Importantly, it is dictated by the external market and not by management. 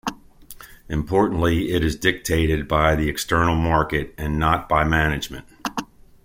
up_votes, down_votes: 2, 0